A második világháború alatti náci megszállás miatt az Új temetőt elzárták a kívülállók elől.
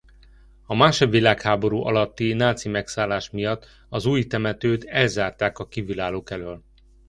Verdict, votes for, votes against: rejected, 0, 2